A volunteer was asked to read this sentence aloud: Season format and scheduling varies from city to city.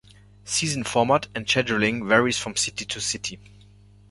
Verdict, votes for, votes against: accepted, 2, 1